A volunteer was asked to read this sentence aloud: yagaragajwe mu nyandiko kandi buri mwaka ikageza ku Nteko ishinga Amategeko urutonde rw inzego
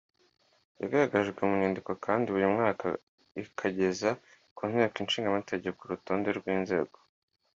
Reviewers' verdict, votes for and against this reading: accepted, 2, 0